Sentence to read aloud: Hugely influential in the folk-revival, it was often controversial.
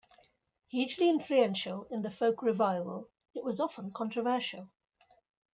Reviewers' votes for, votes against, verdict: 2, 0, accepted